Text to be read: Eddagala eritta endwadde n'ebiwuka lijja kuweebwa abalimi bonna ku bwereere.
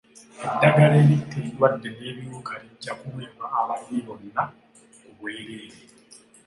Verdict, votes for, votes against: accepted, 2, 1